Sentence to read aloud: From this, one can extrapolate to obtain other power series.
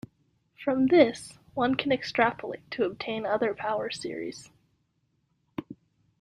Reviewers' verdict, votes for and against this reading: accepted, 2, 0